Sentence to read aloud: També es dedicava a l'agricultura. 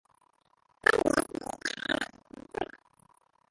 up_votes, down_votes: 0, 2